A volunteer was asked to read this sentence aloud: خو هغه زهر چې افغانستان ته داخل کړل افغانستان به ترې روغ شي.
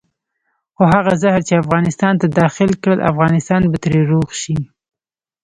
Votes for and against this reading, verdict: 1, 2, rejected